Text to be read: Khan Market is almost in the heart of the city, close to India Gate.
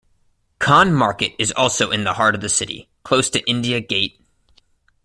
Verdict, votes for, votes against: rejected, 1, 2